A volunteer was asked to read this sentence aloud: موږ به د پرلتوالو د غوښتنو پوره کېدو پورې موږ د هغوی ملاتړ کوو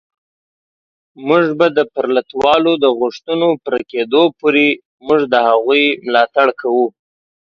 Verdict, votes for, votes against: accepted, 2, 0